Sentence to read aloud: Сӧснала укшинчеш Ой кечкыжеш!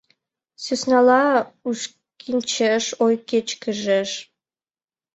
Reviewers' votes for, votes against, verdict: 0, 2, rejected